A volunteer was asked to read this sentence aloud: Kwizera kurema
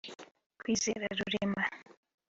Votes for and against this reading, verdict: 1, 2, rejected